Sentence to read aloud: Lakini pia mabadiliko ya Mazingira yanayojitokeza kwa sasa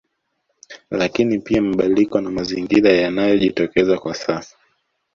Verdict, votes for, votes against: rejected, 1, 2